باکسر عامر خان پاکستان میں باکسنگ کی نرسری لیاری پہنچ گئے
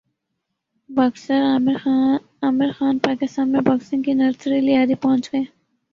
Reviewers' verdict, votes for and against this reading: accepted, 2, 1